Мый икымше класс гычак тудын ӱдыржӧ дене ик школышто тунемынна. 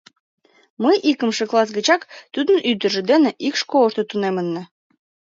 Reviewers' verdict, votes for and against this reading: accepted, 2, 0